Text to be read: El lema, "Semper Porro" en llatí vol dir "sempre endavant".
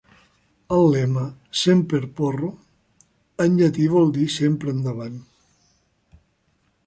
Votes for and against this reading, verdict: 2, 0, accepted